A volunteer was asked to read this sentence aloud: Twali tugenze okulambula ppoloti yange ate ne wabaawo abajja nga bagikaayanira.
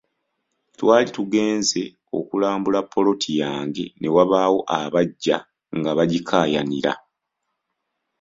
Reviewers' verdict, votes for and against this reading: accepted, 2, 0